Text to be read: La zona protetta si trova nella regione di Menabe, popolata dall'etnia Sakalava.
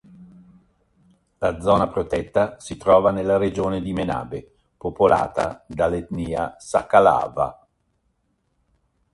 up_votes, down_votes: 1, 2